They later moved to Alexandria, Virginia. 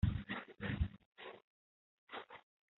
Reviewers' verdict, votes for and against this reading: rejected, 0, 2